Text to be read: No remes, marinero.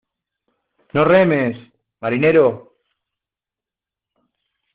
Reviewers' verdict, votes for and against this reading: accepted, 2, 0